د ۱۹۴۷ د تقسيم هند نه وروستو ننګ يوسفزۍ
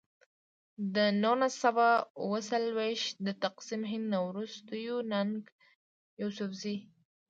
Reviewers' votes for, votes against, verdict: 0, 2, rejected